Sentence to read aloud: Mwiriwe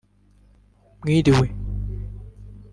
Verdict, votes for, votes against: rejected, 1, 2